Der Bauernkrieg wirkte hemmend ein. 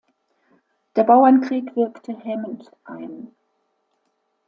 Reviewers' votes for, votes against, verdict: 2, 0, accepted